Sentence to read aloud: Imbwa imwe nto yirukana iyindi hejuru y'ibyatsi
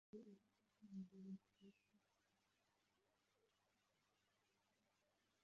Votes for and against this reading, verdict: 0, 2, rejected